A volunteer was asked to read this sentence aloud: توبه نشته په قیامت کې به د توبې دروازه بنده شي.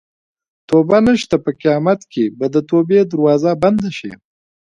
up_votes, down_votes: 2, 0